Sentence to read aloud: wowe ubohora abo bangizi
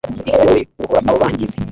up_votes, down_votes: 1, 2